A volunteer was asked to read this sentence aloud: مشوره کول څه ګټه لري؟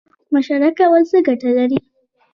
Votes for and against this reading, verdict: 1, 2, rejected